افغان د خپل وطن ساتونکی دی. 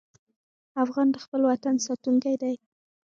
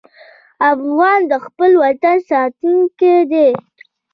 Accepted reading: second